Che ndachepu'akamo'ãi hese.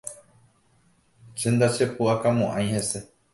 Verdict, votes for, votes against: accepted, 2, 0